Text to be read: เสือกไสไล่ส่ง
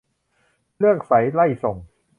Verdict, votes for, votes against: rejected, 0, 2